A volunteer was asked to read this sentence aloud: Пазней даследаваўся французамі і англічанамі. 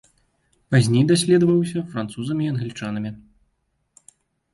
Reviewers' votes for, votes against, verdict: 2, 1, accepted